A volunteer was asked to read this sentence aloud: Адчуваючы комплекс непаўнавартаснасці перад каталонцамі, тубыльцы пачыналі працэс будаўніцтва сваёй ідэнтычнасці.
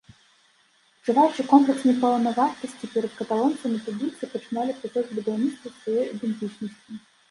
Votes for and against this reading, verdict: 1, 2, rejected